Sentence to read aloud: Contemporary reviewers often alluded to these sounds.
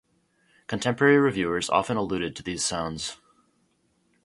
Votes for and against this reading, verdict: 4, 0, accepted